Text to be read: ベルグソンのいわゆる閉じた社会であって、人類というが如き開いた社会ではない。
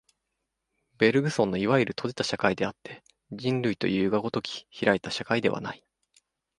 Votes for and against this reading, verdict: 2, 0, accepted